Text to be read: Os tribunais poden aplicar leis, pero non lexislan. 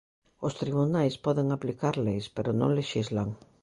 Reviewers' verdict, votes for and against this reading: accepted, 2, 0